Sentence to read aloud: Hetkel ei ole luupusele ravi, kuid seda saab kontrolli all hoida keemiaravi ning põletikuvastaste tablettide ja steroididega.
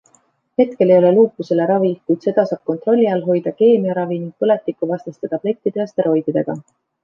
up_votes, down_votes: 2, 0